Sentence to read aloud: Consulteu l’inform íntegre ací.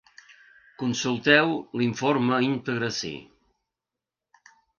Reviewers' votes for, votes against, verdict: 1, 2, rejected